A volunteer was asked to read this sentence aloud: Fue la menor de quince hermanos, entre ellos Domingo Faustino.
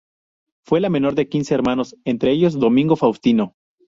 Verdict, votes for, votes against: rejected, 2, 2